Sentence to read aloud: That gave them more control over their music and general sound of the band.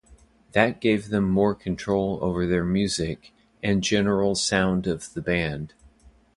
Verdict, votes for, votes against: accepted, 2, 0